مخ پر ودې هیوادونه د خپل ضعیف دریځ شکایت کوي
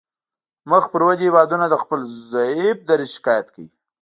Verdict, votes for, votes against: rejected, 0, 2